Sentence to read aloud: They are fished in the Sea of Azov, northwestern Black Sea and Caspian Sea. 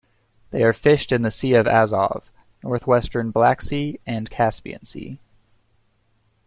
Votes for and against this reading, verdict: 2, 0, accepted